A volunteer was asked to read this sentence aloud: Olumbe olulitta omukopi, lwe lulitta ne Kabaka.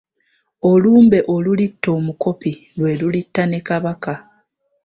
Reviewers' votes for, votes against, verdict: 2, 0, accepted